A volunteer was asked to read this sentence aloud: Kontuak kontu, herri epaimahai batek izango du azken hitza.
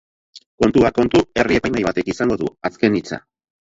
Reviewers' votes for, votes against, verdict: 0, 2, rejected